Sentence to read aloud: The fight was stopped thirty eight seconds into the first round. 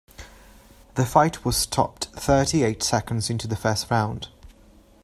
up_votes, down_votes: 2, 0